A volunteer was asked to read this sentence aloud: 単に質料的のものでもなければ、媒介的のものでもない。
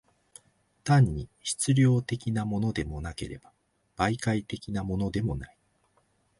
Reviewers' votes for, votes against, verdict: 2, 0, accepted